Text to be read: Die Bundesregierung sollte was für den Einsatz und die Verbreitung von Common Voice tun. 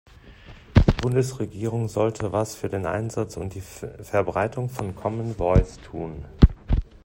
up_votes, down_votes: 0, 2